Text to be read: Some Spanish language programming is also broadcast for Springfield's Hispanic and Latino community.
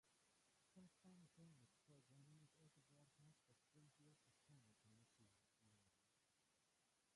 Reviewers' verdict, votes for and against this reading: rejected, 0, 2